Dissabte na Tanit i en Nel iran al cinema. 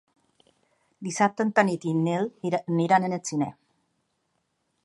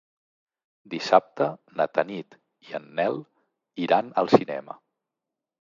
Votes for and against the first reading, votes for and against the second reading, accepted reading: 1, 2, 2, 0, second